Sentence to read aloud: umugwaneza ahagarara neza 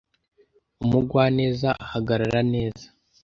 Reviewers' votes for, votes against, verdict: 2, 0, accepted